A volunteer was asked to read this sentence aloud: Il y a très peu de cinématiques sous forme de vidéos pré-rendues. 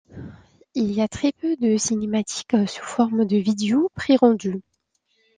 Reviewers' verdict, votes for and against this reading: accepted, 2, 1